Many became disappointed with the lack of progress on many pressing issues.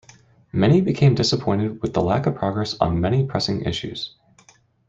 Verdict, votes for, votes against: accepted, 2, 0